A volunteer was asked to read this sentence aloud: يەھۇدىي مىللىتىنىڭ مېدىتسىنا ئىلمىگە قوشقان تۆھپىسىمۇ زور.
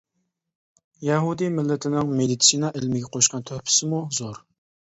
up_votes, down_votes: 2, 0